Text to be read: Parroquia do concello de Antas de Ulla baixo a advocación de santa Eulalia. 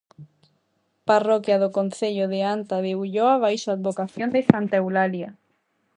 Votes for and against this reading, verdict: 0, 2, rejected